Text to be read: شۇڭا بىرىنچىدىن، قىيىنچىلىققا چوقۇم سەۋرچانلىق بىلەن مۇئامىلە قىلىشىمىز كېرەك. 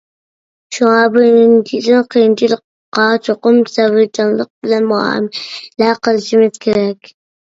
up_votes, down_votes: 0, 2